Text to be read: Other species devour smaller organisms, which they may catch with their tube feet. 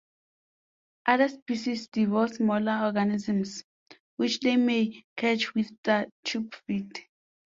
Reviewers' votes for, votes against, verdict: 0, 2, rejected